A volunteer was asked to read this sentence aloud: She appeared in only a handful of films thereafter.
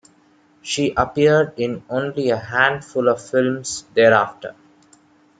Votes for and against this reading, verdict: 2, 0, accepted